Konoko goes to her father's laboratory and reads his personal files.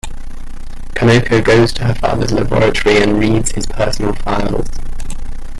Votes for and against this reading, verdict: 2, 0, accepted